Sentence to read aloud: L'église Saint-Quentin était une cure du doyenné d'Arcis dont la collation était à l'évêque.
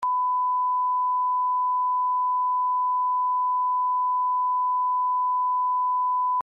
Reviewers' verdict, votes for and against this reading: rejected, 0, 2